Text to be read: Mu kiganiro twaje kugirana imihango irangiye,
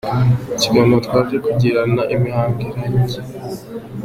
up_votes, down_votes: 2, 0